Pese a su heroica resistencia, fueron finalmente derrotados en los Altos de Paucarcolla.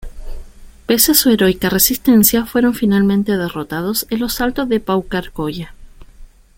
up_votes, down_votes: 2, 0